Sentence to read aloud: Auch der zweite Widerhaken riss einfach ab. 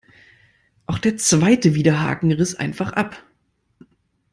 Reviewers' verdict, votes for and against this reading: accepted, 2, 0